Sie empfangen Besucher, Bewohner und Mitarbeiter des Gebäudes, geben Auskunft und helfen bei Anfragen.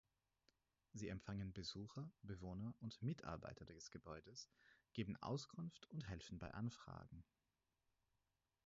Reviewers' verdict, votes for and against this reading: rejected, 0, 4